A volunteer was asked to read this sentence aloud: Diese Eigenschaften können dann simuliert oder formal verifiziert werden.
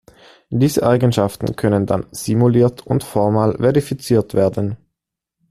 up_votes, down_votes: 1, 2